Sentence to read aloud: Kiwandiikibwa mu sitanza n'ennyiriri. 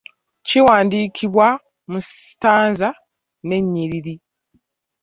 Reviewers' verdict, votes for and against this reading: accepted, 2, 0